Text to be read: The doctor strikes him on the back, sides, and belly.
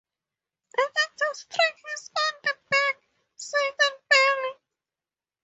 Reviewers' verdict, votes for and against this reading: accepted, 4, 0